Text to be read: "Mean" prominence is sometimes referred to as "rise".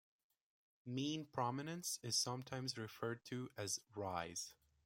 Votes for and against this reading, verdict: 2, 0, accepted